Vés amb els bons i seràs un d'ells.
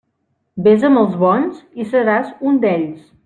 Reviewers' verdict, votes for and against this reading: accepted, 3, 0